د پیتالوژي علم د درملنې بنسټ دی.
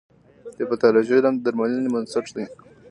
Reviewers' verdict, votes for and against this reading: accepted, 3, 1